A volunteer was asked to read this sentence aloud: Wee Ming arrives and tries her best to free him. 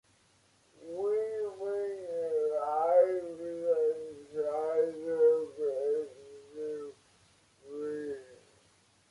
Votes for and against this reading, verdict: 0, 2, rejected